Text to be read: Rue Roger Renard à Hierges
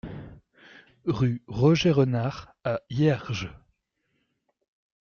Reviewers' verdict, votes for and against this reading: accepted, 2, 0